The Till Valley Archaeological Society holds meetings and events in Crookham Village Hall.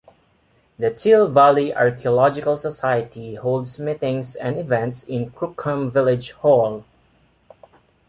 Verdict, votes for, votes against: accepted, 2, 0